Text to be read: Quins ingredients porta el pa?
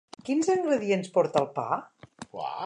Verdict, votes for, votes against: rejected, 1, 2